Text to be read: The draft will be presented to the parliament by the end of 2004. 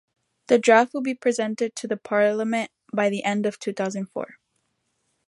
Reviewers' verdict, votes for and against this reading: rejected, 0, 2